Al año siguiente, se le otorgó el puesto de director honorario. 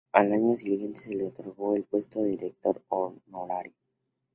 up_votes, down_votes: 0, 2